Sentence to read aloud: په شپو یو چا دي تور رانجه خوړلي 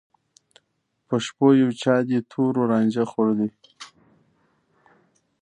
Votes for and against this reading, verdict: 2, 0, accepted